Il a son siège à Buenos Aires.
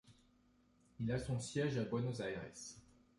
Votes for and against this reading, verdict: 2, 0, accepted